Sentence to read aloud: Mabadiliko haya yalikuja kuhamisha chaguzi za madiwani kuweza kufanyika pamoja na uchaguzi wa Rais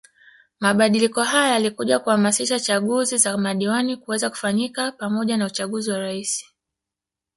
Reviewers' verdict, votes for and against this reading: accepted, 2, 0